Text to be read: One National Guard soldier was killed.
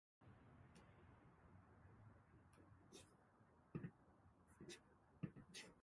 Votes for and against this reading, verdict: 0, 10, rejected